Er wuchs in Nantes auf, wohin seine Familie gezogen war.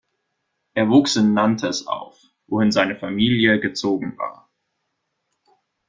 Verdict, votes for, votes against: rejected, 0, 2